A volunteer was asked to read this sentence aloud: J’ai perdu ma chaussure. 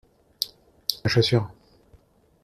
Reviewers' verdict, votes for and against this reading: rejected, 0, 2